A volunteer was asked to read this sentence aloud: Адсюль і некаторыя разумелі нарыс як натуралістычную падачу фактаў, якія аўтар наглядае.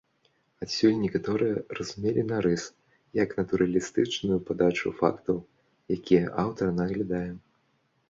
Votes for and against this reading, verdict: 0, 2, rejected